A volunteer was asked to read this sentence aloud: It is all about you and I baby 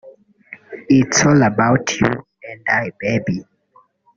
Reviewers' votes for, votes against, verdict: 0, 2, rejected